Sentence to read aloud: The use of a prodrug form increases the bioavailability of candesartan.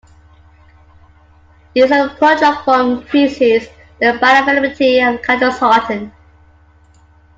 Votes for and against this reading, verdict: 0, 2, rejected